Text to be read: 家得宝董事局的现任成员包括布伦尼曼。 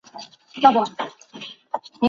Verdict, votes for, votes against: rejected, 1, 7